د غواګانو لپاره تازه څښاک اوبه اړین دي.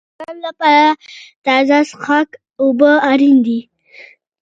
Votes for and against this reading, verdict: 2, 0, accepted